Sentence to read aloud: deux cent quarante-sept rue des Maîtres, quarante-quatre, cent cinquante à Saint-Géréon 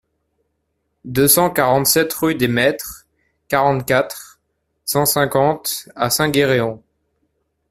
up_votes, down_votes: 1, 2